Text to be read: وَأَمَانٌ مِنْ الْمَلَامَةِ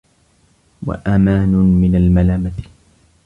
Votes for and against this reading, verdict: 2, 0, accepted